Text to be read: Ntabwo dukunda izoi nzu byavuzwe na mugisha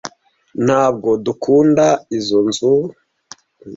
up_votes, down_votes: 0, 2